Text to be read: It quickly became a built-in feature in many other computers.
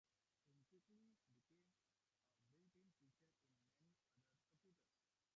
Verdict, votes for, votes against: rejected, 0, 2